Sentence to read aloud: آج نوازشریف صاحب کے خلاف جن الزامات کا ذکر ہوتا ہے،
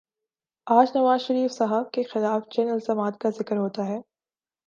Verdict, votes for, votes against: accepted, 2, 0